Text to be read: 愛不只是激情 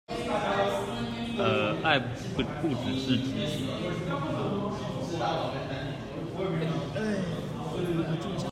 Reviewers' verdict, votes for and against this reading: rejected, 0, 2